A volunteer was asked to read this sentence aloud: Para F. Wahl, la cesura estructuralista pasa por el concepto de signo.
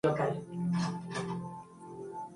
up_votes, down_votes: 0, 2